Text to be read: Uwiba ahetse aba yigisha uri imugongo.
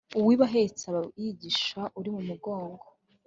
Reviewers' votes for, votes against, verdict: 3, 0, accepted